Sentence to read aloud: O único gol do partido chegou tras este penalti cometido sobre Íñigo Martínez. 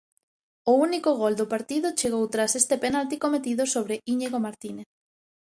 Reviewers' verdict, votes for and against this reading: accepted, 3, 0